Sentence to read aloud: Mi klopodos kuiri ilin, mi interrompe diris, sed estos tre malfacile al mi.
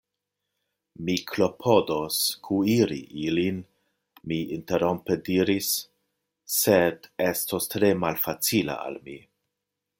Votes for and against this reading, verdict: 1, 2, rejected